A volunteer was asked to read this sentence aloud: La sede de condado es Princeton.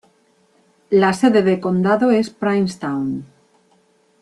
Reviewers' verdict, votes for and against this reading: rejected, 2, 3